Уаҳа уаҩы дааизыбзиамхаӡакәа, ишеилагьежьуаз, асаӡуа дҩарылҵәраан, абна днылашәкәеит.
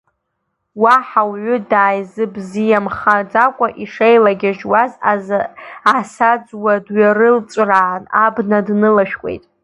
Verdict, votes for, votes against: rejected, 0, 2